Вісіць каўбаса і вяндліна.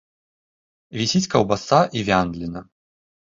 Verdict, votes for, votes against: rejected, 1, 2